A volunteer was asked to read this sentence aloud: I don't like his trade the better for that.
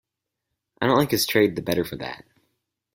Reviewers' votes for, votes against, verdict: 4, 2, accepted